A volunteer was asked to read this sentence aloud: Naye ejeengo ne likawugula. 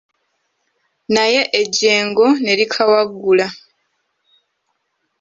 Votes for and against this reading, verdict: 1, 2, rejected